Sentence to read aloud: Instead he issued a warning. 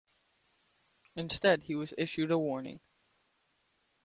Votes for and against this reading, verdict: 0, 2, rejected